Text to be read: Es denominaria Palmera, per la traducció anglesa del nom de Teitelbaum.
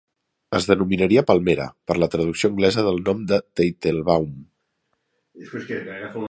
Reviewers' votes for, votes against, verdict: 1, 2, rejected